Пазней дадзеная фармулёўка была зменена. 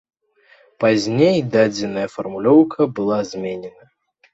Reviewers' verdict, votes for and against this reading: rejected, 0, 2